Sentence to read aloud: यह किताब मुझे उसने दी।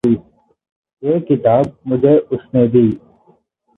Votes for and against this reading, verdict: 2, 2, rejected